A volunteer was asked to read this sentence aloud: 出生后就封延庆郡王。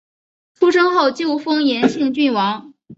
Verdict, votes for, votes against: accepted, 5, 0